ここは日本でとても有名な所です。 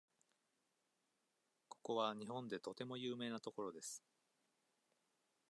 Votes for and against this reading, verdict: 2, 1, accepted